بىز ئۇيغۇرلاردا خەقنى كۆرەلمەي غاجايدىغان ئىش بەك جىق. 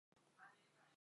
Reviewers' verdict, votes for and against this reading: rejected, 0, 2